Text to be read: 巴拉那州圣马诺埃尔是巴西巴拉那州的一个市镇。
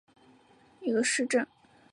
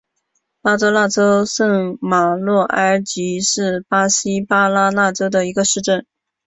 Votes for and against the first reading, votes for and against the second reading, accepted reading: 0, 3, 2, 0, second